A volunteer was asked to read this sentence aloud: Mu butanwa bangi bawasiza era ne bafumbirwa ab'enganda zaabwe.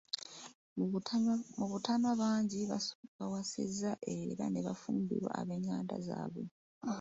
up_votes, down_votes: 1, 2